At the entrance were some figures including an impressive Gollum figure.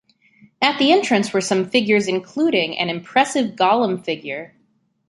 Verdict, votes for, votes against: accepted, 2, 0